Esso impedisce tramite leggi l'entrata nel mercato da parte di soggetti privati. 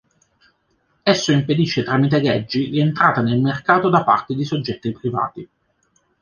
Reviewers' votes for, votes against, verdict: 2, 0, accepted